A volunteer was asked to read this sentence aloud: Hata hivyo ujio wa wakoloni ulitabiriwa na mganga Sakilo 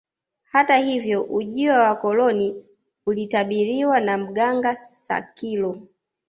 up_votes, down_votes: 3, 1